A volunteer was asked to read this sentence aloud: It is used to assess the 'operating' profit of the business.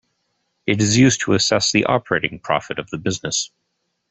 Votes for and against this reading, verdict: 2, 0, accepted